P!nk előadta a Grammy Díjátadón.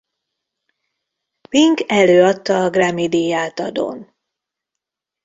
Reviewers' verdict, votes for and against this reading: rejected, 0, 2